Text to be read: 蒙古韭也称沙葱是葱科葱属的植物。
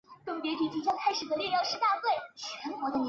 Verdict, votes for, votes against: rejected, 0, 3